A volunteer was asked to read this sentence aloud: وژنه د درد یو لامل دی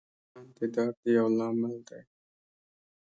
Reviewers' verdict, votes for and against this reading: accepted, 2, 1